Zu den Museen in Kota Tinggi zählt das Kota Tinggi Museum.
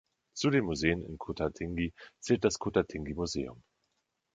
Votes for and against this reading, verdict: 2, 0, accepted